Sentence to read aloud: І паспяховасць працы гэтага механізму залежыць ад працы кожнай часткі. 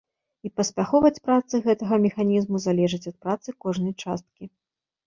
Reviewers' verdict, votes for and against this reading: rejected, 1, 2